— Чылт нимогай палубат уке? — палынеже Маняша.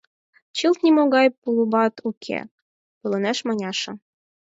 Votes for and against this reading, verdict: 2, 4, rejected